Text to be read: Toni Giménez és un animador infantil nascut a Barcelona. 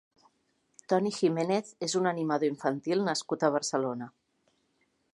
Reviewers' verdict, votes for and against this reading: accepted, 4, 0